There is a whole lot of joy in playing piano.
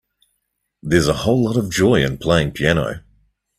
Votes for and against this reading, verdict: 2, 0, accepted